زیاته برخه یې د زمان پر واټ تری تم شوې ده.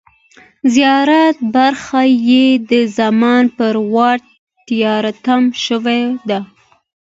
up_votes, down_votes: 2, 1